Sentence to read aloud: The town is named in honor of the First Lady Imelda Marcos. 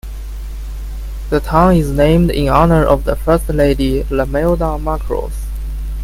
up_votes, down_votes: 0, 2